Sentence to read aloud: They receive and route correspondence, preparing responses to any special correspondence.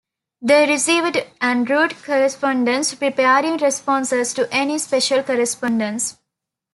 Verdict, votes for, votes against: rejected, 0, 2